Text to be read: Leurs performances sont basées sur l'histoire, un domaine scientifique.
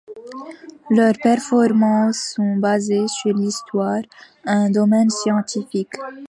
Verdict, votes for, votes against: accepted, 2, 0